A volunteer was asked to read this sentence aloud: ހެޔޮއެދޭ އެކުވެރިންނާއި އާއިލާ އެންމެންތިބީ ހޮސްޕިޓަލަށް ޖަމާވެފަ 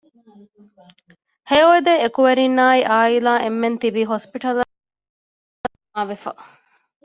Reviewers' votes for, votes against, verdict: 0, 2, rejected